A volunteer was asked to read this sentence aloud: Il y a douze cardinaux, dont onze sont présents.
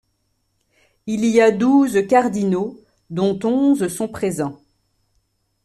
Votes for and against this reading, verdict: 2, 0, accepted